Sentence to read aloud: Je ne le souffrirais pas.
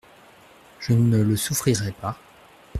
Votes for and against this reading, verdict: 2, 0, accepted